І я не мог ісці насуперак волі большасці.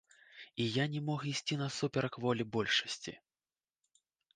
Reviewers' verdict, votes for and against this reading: accepted, 2, 0